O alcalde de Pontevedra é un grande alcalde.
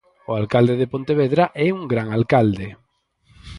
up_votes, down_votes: 0, 4